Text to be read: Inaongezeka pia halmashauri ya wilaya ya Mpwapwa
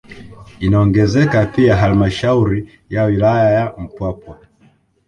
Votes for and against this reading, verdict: 1, 2, rejected